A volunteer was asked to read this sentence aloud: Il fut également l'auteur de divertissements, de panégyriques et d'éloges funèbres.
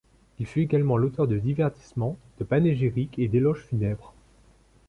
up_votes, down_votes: 2, 0